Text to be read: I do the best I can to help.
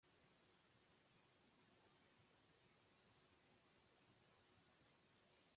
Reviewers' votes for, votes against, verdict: 0, 4, rejected